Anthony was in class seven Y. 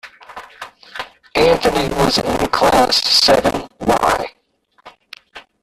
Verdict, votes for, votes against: rejected, 0, 2